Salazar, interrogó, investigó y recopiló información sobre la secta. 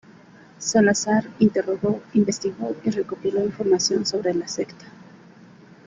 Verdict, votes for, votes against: rejected, 0, 2